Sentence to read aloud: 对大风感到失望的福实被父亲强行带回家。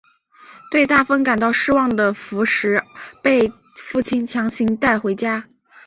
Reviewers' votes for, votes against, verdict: 6, 0, accepted